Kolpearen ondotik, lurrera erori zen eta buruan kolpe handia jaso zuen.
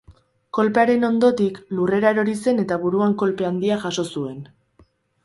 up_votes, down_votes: 6, 0